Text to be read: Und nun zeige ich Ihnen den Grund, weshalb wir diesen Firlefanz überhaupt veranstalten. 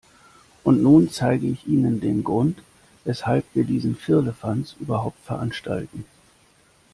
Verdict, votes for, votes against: accepted, 2, 0